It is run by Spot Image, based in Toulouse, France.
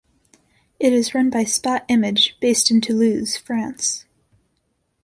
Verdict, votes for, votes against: accepted, 2, 0